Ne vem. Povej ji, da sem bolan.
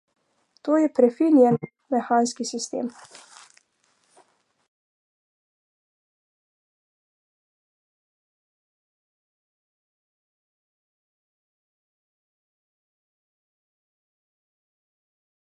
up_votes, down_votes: 0, 2